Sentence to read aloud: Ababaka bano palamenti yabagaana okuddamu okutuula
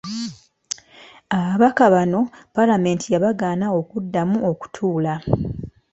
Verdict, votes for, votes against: accepted, 2, 0